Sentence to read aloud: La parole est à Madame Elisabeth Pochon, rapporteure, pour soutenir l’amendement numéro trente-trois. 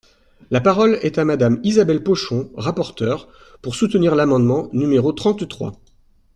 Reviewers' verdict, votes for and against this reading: rejected, 1, 2